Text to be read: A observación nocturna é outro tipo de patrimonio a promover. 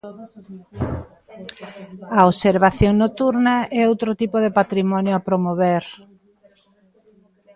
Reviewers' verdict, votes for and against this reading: rejected, 1, 2